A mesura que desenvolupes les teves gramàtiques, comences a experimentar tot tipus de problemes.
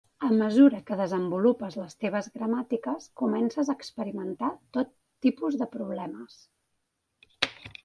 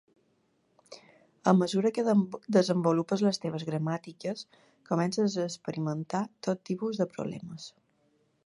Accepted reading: first